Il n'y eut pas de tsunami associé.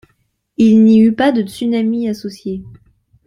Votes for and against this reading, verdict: 2, 0, accepted